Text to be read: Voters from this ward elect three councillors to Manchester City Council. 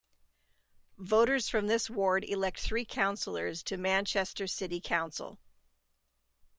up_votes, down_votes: 2, 0